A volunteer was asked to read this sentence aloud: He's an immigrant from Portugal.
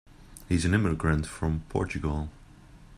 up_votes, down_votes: 3, 0